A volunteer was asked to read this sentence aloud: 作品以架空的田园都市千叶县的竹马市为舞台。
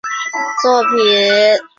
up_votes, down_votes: 2, 3